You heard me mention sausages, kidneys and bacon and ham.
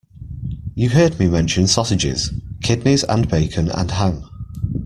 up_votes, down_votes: 2, 0